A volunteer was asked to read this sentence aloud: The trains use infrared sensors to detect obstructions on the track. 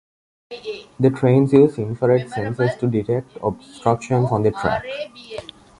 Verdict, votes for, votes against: rejected, 1, 2